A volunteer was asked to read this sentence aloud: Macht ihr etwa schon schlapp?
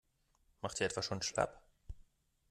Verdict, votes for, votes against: accepted, 2, 0